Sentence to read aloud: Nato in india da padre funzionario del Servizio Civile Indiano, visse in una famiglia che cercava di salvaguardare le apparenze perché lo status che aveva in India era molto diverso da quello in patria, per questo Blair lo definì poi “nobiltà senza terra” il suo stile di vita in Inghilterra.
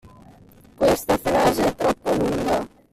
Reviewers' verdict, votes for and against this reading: rejected, 0, 2